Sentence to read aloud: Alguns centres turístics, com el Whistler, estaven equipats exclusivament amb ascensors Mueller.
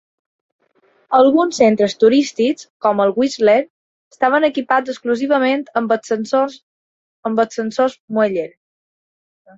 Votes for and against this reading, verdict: 0, 2, rejected